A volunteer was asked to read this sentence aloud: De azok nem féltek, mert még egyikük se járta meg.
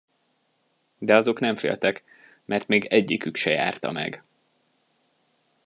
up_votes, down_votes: 2, 0